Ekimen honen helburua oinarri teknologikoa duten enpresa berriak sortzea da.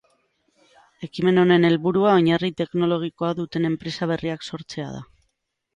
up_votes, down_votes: 9, 0